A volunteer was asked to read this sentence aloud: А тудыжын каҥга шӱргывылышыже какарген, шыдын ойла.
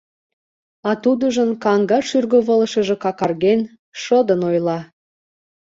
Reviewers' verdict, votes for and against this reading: accepted, 2, 0